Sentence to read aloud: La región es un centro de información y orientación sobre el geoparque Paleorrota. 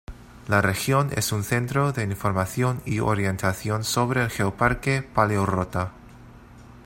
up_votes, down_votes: 2, 0